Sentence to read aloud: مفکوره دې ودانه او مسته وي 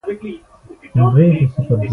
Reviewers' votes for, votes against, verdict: 0, 2, rejected